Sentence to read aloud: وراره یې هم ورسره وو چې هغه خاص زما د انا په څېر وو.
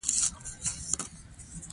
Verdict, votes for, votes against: rejected, 0, 2